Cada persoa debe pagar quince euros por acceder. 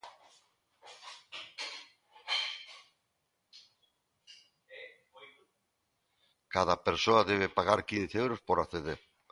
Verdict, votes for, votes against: rejected, 1, 2